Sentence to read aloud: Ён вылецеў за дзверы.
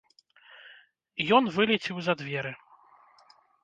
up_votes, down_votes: 0, 2